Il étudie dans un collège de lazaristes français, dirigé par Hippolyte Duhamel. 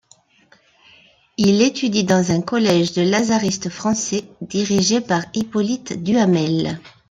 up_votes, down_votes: 2, 0